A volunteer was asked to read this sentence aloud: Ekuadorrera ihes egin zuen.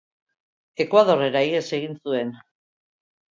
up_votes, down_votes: 2, 0